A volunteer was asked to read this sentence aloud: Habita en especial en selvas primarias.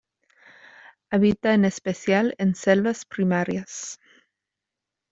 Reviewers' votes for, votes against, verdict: 2, 0, accepted